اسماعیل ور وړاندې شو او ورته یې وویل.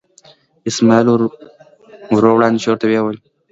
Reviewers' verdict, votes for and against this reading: rejected, 1, 2